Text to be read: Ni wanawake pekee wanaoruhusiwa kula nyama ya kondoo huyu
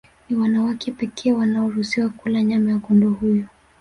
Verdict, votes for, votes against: accepted, 2, 1